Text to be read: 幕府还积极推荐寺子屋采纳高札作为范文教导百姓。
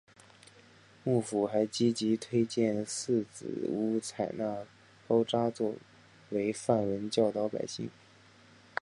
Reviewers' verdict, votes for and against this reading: accepted, 2, 0